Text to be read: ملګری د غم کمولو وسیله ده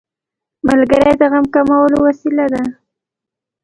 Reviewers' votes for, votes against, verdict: 2, 1, accepted